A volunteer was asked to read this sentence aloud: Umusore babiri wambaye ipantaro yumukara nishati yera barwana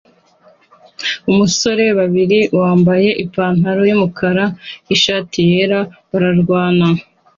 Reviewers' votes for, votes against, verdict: 2, 0, accepted